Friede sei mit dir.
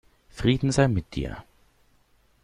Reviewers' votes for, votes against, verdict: 0, 2, rejected